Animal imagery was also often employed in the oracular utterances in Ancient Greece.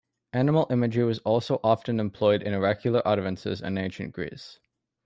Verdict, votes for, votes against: accepted, 2, 0